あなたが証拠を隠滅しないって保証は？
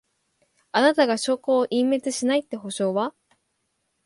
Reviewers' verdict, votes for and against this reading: accepted, 2, 0